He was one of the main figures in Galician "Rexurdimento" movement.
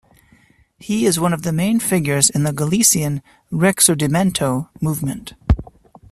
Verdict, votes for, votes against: rejected, 0, 2